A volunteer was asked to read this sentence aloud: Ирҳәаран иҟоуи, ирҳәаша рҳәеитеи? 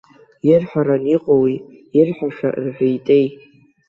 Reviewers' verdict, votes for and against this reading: rejected, 1, 2